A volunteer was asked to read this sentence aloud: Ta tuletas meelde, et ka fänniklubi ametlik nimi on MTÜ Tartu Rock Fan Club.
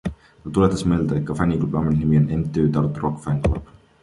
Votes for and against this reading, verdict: 2, 0, accepted